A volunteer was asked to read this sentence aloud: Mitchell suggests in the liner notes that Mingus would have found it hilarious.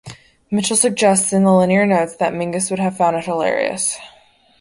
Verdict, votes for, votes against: rejected, 0, 2